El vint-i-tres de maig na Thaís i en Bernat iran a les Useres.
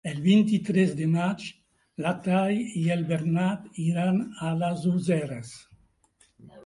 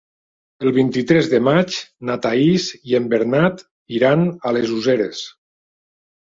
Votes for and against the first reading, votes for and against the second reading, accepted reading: 0, 2, 2, 0, second